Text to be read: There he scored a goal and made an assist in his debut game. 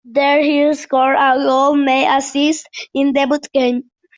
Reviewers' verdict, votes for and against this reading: rejected, 0, 2